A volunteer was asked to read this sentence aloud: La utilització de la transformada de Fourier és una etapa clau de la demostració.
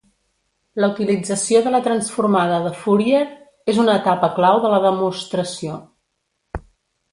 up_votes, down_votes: 0, 2